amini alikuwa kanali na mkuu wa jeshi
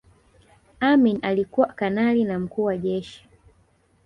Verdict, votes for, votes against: rejected, 1, 2